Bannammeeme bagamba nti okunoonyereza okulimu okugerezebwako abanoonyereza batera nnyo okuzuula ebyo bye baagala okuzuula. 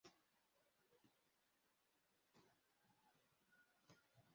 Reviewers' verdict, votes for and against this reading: rejected, 1, 2